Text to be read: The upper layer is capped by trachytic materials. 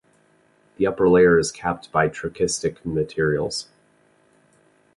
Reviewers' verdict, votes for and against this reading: rejected, 0, 2